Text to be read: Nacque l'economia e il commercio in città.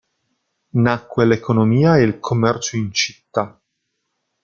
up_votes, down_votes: 1, 2